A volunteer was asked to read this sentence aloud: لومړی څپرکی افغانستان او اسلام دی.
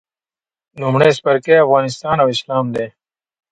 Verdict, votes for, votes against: accepted, 2, 0